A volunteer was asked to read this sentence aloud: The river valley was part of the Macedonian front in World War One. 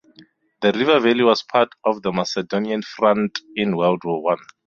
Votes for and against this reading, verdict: 2, 2, rejected